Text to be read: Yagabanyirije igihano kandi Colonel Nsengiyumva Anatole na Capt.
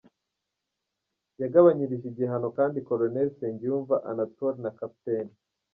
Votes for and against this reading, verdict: 2, 0, accepted